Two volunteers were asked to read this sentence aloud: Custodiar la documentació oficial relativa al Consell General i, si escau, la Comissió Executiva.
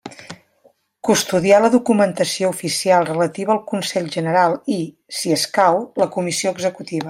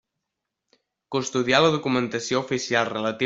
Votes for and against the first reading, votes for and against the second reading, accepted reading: 2, 0, 0, 2, first